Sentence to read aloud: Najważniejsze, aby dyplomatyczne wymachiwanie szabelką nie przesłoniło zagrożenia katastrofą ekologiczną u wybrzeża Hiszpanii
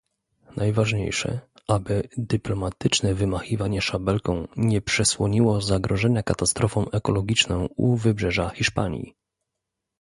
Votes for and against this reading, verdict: 2, 0, accepted